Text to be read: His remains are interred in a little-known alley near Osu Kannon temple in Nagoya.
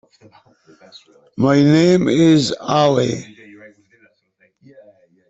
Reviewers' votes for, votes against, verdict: 0, 2, rejected